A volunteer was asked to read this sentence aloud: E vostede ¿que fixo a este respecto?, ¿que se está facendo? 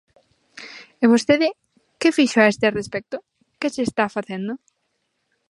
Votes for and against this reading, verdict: 2, 0, accepted